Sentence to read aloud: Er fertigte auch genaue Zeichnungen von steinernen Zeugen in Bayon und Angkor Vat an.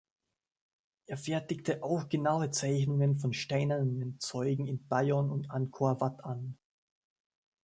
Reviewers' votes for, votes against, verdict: 1, 2, rejected